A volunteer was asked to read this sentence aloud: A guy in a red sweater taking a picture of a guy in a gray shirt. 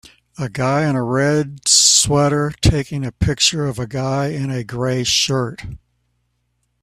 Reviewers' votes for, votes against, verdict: 1, 2, rejected